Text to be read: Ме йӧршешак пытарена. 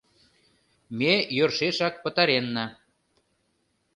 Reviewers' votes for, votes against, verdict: 1, 2, rejected